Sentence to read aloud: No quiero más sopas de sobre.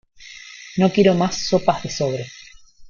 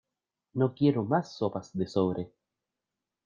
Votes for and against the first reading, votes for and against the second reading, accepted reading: 1, 2, 2, 0, second